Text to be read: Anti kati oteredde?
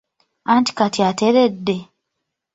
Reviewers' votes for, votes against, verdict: 0, 2, rejected